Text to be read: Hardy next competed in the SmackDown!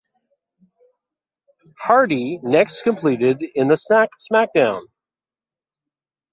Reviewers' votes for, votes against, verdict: 0, 2, rejected